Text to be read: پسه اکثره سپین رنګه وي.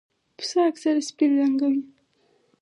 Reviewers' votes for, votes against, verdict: 2, 4, rejected